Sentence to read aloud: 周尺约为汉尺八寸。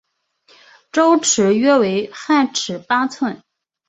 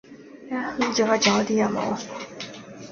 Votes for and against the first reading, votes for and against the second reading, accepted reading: 5, 0, 0, 2, first